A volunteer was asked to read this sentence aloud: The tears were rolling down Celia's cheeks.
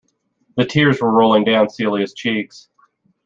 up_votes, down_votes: 2, 0